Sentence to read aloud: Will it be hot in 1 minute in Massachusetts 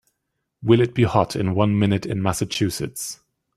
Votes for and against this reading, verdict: 0, 2, rejected